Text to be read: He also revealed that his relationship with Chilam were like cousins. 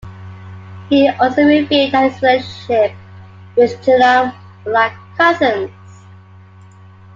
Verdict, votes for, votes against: rejected, 1, 2